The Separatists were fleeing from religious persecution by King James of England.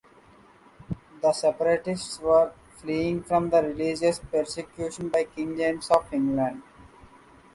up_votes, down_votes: 2, 0